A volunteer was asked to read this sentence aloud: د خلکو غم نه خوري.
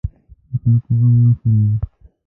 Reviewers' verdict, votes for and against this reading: rejected, 1, 2